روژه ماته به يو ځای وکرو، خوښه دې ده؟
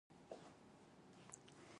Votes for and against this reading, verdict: 1, 2, rejected